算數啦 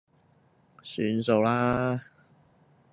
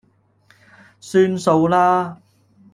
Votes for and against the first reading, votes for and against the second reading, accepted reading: 2, 0, 1, 2, first